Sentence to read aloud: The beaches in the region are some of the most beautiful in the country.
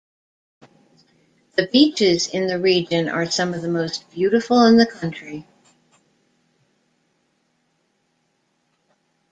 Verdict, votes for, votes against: accepted, 2, 1